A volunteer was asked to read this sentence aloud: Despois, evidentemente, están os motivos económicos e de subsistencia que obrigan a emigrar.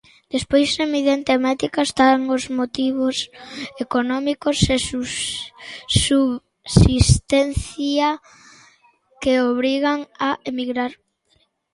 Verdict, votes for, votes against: rejected, 0, 2